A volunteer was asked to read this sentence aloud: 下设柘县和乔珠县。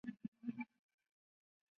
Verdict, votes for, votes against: rejected, 4, 10